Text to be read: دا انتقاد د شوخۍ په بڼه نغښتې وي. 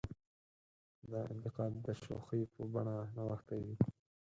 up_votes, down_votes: 2, 4